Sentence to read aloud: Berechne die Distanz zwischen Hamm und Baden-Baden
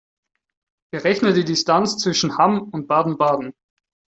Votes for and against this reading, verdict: 4, 0, accepted